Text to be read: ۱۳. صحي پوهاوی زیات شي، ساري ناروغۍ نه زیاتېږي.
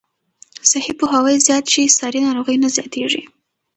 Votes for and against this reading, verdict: 0, 2, rejected